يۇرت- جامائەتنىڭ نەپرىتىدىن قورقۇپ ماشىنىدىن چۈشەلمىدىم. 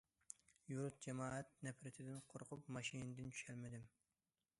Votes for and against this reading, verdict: 0, 2, rejected